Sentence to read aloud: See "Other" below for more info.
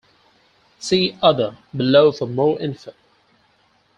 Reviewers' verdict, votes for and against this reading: accepted, 4, 0